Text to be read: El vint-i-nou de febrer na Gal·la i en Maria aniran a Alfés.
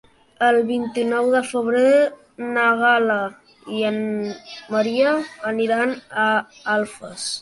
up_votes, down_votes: 0, 2